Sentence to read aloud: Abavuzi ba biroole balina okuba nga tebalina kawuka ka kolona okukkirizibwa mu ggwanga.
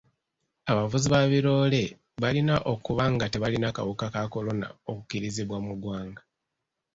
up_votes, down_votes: 2, 1